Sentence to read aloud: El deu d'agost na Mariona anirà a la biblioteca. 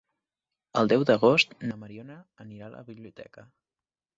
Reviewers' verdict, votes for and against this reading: rejected, 1, 2